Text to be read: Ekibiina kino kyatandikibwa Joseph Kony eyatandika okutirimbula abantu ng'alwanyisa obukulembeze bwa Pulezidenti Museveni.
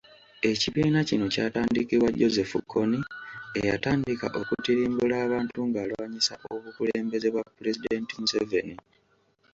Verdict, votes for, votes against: accepted, 2, 0